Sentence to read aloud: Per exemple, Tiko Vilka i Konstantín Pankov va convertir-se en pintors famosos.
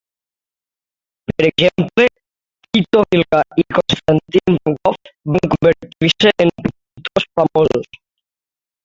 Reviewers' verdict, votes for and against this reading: rejected, 0, 3